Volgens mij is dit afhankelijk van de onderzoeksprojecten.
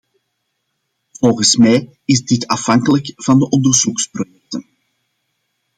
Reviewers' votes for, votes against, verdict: 0, 2, rejected